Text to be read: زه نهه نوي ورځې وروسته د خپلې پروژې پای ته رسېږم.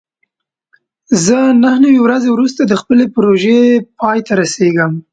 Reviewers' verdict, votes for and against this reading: accepted, 2, 0